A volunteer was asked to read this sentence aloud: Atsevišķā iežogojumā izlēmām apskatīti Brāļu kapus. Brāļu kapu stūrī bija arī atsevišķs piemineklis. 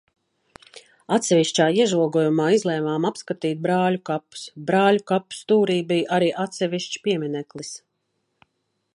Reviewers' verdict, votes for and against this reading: accepted, 2, 0